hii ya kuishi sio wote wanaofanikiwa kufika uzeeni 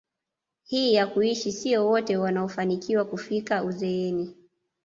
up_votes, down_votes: 2, 0